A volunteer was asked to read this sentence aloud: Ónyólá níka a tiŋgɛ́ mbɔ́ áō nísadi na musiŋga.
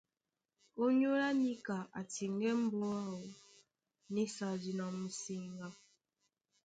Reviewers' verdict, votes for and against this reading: accepted, 2, 0